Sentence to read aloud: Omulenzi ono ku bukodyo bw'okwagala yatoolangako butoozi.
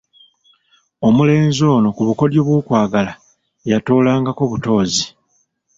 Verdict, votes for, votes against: accepted, 2, 0